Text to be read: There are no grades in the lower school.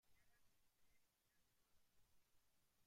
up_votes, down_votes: 0, 2